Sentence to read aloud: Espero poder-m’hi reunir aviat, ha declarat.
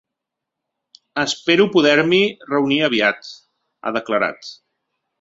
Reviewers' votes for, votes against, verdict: 2, 0, accepted